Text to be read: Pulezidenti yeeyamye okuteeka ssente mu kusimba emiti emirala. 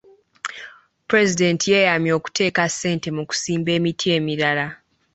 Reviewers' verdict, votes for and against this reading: accepted, 3, 0